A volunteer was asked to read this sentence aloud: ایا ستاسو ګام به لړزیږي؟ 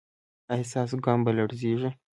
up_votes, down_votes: 2, 0